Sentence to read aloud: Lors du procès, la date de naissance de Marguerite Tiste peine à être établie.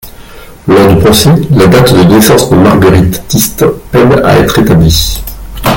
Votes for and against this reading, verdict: 0, 2, rejected